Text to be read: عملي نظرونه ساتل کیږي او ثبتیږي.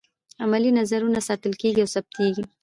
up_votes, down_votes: 2, 0